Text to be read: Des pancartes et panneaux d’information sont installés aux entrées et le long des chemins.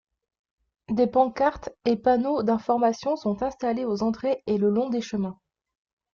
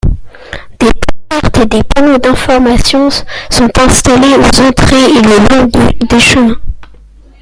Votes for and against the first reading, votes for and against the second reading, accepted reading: 2, 0, 0, 2, first